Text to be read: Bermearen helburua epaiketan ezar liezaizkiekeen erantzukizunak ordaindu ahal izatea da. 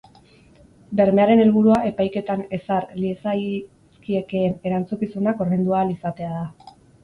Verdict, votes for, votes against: rejected, 2, 2